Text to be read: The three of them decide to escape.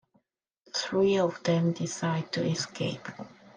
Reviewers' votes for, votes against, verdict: 3, 2, accepted